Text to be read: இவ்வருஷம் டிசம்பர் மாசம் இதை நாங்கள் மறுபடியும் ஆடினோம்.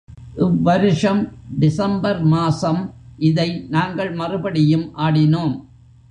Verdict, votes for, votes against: accepted, 2, 0